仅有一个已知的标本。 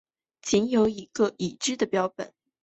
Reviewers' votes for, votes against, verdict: 10, 0, accepted